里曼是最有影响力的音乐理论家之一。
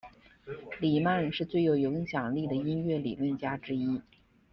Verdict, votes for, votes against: accepted, 2, 1